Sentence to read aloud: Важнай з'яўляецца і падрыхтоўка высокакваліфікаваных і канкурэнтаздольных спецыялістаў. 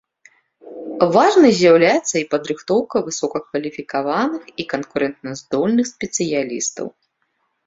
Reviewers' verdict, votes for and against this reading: rejected, 1, 2